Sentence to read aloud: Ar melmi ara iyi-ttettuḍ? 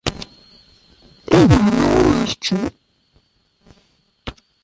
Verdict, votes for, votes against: rejected, 1, 2